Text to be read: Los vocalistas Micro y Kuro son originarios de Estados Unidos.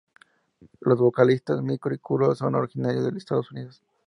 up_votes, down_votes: 0, 2